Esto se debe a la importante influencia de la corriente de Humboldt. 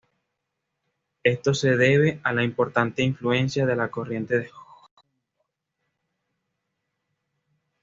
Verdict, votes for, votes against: rejected, 1, 2